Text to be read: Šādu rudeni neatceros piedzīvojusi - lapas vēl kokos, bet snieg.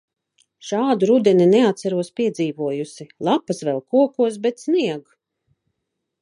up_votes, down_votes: 2, 0